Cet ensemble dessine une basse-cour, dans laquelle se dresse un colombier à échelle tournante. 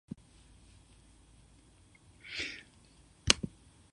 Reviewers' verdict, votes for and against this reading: rejected, 0, 2